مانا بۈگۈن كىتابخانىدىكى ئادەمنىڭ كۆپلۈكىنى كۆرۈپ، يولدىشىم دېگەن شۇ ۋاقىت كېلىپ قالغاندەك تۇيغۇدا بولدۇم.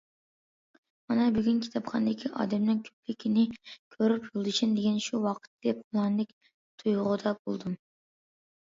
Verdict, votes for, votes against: rejected, 0, 2